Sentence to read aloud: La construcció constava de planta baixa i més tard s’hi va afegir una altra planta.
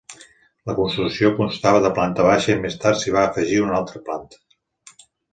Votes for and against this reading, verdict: 2, 0, accepted